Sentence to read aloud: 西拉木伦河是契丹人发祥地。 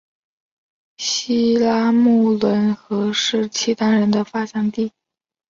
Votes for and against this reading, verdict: 6, 0, accepted